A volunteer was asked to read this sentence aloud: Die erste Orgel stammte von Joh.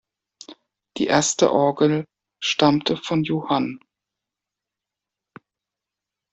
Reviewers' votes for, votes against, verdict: 0, 2, rejected